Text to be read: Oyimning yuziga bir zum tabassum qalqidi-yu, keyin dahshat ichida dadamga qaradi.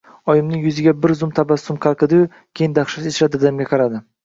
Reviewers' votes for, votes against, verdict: 0, 2, rejected